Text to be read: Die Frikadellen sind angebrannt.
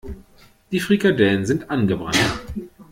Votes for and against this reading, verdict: 2, 0, accepted